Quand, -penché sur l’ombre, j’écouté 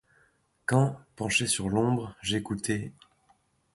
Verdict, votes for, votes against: accepted, 2, 0